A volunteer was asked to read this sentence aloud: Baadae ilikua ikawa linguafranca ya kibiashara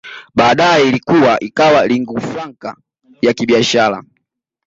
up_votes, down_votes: 2, 0